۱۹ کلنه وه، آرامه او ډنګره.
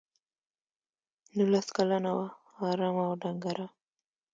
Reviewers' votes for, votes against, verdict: 0, 2, rejected